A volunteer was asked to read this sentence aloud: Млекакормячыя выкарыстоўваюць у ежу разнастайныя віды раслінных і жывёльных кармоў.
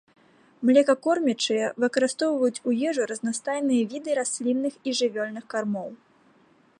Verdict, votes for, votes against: accepted, 2, 0